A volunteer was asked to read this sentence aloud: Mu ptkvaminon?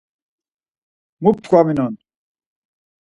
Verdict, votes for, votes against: accepted, 4, 0